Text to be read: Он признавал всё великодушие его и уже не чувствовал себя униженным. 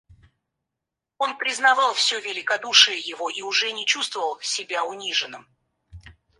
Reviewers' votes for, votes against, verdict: 2, 4, rejected